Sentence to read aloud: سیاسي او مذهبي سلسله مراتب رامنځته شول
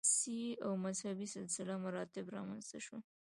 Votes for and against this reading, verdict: 2, 0, accepted